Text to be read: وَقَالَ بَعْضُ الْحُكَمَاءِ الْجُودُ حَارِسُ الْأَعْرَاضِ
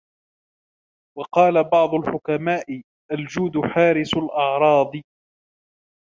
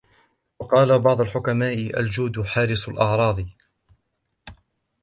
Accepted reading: second